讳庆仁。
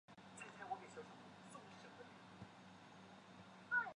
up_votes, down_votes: 0, 2